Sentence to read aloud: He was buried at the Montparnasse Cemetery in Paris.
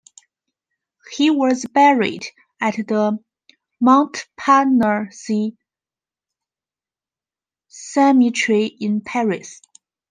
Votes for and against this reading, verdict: 1, 2, rejected